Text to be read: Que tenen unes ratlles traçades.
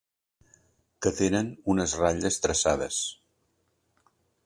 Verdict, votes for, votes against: accepted, 3, 0